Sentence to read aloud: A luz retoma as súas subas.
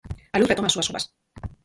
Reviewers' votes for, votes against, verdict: 0, 4, rejected